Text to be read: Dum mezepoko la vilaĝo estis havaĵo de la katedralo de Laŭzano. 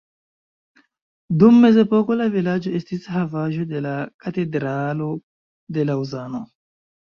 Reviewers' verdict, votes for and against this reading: rejected, 1, 2